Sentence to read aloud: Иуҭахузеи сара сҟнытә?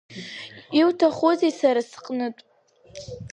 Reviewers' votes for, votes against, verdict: 2, 0, accepted